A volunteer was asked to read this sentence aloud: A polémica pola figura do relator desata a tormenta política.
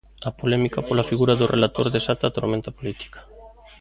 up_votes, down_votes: 2, 0